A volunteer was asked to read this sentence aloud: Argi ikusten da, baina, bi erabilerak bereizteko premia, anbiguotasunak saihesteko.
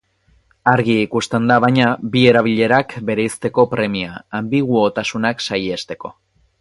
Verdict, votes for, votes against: accepted, 6, 0